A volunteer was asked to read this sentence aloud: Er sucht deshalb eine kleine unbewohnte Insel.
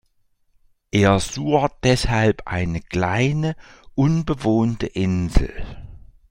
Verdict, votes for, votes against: rejected, 0, 2